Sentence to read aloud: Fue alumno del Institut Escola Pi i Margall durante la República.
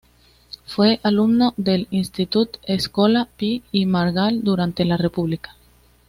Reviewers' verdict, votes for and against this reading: accepted, 2, 0